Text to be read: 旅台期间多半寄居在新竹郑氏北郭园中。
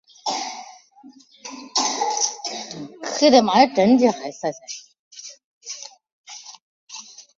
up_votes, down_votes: 1, 3